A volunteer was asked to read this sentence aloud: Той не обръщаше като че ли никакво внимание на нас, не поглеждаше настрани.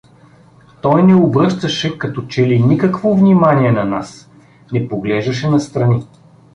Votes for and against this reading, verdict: 2, 0, accepted